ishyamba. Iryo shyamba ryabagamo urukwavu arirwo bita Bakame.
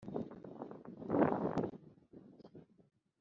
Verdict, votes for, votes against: rejected, 0, 4